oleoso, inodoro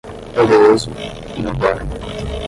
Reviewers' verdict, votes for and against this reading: rejected, 0, 5